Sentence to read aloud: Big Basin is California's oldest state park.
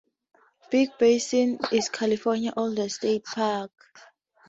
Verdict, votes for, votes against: rejected, 0, 4